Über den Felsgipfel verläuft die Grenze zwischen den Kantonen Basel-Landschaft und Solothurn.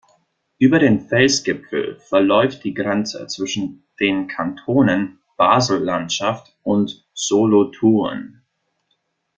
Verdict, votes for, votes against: rejected, 1, 2